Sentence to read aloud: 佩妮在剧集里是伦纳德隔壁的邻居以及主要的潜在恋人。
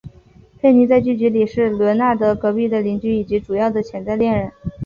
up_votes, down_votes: 2, 0